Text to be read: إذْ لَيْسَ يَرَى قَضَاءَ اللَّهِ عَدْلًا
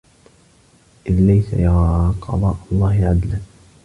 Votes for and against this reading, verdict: 0, 2, rejected